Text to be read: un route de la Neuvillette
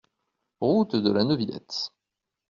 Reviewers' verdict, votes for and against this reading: rejected, 0, 2